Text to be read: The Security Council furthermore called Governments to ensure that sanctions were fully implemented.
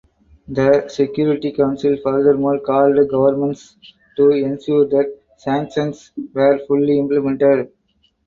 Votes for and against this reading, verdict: 4, 0, accepted